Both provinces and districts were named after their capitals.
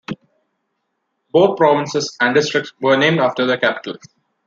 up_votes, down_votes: 3, 0